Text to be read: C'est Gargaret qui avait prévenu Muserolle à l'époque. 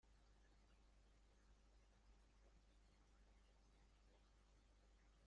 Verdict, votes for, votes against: rejected, 1, 2